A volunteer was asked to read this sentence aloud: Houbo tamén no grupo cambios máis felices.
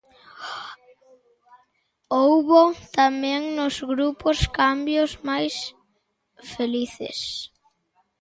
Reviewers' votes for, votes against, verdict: 0, 2, rejected